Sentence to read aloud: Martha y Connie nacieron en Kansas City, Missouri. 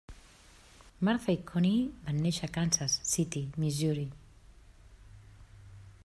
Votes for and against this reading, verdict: 0, 2, rejected